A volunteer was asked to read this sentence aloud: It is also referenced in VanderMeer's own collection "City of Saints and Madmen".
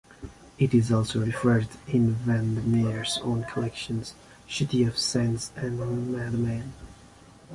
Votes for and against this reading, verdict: 0, 2, rejected